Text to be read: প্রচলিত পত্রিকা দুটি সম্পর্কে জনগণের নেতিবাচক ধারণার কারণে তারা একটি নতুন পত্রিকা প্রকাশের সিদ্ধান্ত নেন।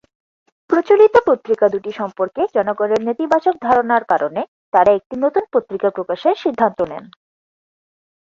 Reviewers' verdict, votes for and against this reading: rejected, 2, 4